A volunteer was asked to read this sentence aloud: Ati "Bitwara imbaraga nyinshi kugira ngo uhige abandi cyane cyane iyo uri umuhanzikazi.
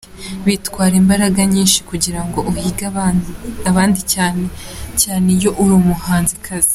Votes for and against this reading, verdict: 0, 2, rejected